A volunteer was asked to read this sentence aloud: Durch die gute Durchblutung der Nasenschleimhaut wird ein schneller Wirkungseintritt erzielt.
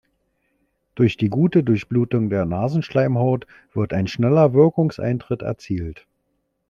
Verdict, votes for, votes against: accepted, 2, 0